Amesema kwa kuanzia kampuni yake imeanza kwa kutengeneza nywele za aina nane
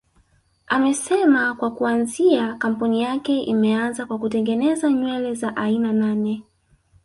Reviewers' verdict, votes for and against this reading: accepted, 2, 0